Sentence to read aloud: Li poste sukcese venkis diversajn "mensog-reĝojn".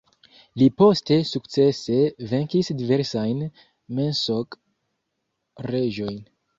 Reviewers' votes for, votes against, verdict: 1, 2, rejected